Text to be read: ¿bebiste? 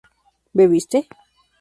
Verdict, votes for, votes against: accepted, 2, 0